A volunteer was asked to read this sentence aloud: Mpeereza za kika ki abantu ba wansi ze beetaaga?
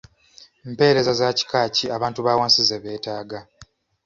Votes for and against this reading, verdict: 2, 0, accepted